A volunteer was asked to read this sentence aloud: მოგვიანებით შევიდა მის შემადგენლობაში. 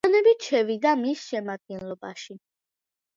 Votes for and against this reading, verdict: 2, 1, accepted